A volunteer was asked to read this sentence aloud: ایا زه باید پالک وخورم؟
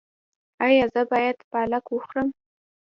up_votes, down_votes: 0, 2